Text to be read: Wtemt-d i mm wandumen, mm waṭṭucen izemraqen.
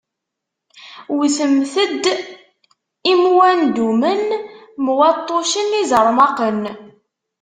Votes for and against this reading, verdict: 1, 2, rejected